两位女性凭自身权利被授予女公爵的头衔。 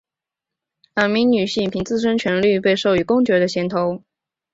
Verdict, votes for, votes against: rejected, 0, 4